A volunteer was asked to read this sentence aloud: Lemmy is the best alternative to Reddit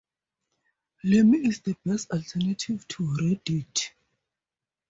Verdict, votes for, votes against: rejected, 0, 4